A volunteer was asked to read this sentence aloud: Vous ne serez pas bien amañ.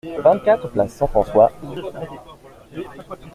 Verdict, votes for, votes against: rejected, 0, 2